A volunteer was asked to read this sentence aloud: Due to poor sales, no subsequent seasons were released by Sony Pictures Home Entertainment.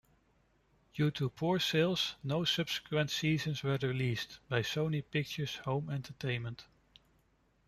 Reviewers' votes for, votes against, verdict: 1, 2, rejected